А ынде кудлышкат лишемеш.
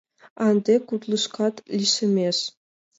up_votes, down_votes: 2, 0